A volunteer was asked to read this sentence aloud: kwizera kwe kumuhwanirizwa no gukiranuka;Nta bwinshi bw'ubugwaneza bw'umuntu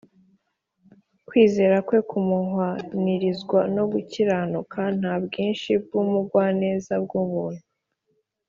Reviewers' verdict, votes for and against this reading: accepted, 2, 0